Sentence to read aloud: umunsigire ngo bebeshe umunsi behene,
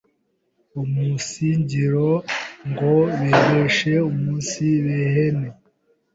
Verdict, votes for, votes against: rejected, 0, 2